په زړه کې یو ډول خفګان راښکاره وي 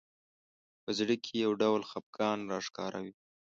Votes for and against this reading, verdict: 2, 0, accepted